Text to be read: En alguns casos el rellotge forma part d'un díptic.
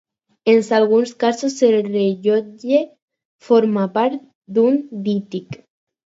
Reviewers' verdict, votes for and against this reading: rejected, 2, 4